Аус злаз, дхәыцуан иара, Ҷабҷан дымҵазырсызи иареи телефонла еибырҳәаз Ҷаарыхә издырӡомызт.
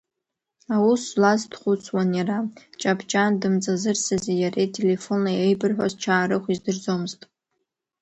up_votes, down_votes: 1, 2